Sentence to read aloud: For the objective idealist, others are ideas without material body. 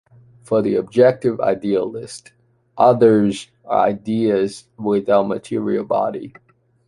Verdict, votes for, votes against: accepted, 2, 0